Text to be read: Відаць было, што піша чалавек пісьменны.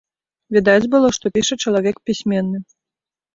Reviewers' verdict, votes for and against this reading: accepted, 2, 0